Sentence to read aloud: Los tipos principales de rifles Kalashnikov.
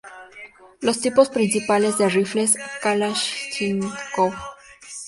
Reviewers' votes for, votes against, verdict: 0, 2, rejected